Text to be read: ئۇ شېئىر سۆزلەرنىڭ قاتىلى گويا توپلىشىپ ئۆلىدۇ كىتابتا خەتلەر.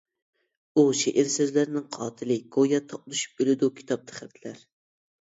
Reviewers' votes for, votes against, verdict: 0, 2, rejected